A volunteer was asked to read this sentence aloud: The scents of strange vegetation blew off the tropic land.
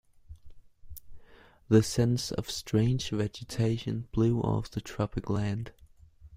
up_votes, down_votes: 2, 0